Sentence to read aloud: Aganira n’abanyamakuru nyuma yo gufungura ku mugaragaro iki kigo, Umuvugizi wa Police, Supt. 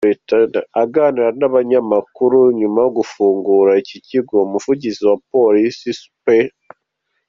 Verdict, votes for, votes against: rejected, 1, 2